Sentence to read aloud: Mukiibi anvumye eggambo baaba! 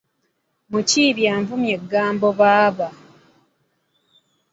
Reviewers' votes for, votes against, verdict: 2, 0, accepted